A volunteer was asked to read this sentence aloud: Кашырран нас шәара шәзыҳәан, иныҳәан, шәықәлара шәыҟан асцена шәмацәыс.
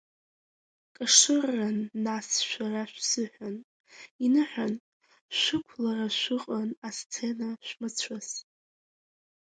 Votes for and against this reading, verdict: 1, 2, rejected